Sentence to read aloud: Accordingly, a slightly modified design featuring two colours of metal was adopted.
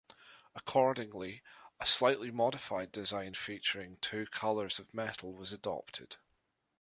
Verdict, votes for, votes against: accepted, 2, 0